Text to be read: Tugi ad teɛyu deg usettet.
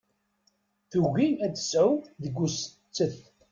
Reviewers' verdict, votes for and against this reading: rejected, 1, 2